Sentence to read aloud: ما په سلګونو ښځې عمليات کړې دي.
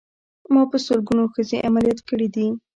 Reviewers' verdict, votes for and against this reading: accepted, 2, 0